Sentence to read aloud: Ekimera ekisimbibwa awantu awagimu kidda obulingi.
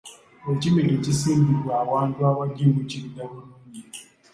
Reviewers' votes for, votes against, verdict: 0, 2, rejected